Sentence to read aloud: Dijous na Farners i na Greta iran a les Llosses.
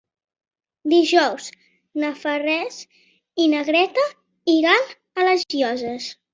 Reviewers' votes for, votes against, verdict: 0, 2, rejected